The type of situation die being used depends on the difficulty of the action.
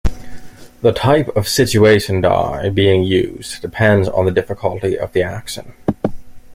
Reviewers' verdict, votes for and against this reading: rejected, 1, 2